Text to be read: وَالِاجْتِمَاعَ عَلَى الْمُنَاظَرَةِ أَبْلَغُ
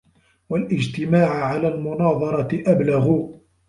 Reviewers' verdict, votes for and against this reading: accepted, 2, 1